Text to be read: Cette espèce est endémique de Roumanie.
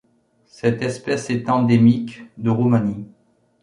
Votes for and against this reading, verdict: 2, 0, accepted